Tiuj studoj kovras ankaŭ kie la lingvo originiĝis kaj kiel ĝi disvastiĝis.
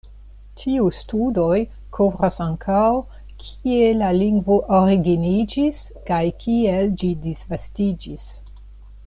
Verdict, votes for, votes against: rejected, 0, 2